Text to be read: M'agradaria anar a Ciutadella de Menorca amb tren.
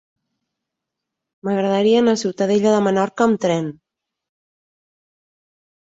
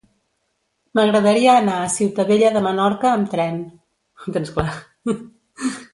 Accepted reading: first